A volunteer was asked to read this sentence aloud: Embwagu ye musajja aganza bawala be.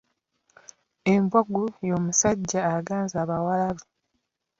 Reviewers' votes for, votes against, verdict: 0, 2, rejected